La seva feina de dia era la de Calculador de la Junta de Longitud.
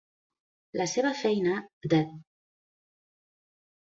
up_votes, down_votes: 0, 2